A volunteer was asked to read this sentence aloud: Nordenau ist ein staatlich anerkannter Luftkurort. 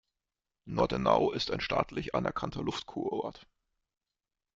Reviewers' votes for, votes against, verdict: 1, 2, rejected